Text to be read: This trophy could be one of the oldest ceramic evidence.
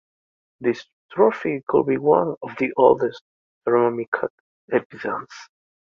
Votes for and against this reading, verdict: 2, 1, accepted